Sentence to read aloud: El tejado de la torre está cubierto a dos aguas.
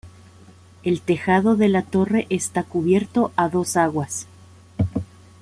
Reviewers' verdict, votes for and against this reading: accepted, 2, 0